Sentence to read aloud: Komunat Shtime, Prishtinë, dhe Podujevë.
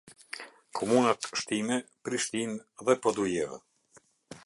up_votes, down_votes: 2, 0